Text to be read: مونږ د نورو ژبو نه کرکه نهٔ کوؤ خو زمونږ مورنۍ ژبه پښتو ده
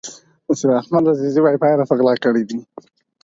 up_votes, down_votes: 0, 4